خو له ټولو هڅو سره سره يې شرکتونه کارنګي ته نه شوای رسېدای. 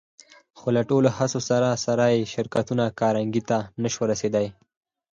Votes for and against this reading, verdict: 4, 0, accepted